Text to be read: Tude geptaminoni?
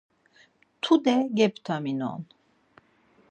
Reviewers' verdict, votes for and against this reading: rejected, 0, 4